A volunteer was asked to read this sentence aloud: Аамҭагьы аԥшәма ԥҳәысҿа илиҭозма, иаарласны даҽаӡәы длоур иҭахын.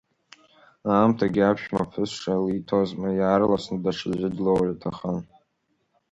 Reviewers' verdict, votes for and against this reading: rejected, 0, 2